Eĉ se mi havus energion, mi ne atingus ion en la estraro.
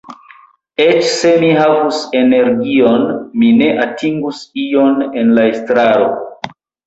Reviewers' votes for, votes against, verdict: 2, 0, accepted